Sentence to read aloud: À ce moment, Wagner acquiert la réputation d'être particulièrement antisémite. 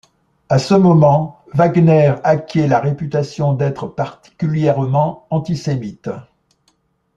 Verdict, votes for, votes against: accepted, 2, 1